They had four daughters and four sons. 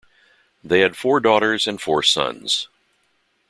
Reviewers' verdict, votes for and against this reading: accepted, 2, 0